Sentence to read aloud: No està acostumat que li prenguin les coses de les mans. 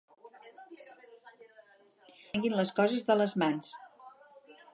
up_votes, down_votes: 0, 4